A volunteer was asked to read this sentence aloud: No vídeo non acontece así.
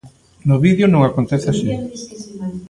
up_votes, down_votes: 2, 0